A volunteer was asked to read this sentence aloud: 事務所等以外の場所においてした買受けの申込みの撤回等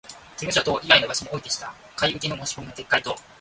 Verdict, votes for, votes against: accepted, 2, 0